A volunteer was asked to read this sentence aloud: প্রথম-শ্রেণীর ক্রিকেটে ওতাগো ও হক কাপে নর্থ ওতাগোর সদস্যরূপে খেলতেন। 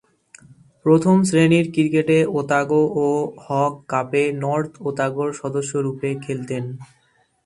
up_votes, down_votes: 2, 0